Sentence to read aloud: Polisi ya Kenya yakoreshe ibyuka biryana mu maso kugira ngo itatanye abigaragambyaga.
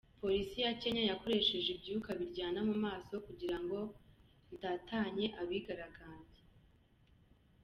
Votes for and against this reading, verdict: 1, 2, rejected